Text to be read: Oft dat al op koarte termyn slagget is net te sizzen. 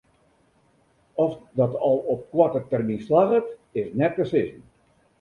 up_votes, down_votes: 2, 0